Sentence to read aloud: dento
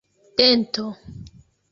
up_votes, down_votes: 2, 0